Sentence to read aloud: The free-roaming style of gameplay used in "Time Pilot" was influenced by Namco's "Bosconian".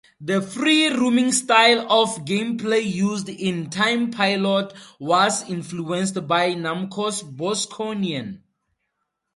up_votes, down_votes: 2, 0